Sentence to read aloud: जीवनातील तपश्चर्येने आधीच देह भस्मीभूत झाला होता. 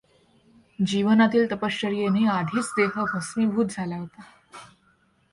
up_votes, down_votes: 2, 0